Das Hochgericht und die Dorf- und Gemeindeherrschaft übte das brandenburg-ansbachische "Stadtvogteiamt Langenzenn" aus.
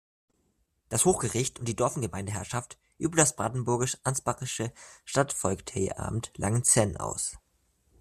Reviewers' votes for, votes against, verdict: 0, 2, rejected